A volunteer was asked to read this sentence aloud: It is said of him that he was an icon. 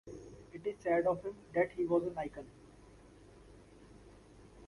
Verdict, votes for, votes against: accepted, 2, 0